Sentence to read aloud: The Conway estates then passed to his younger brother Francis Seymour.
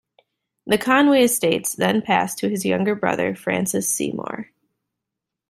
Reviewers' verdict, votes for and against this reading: accepted, 2, 0